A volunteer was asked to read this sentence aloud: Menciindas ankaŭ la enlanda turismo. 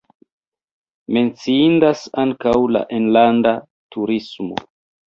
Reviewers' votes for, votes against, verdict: 1, 2, rejected